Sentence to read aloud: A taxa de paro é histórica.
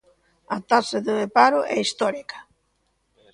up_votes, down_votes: 2, 0